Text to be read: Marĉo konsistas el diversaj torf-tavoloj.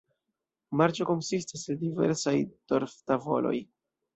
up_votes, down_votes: 2, 0